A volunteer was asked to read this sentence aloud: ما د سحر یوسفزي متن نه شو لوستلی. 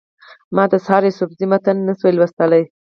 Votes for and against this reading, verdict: 4, 0, accepted